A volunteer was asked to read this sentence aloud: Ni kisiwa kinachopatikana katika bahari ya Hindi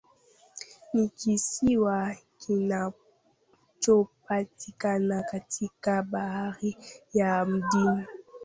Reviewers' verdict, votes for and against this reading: rejected, 0, 2